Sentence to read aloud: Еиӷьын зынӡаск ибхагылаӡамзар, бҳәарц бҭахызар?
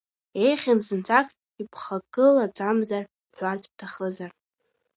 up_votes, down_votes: 3, 2